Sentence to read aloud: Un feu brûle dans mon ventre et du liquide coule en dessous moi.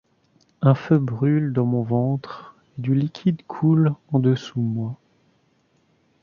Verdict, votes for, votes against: rejected, 1, 2